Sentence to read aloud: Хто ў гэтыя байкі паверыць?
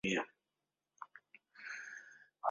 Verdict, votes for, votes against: rejected, 0, 2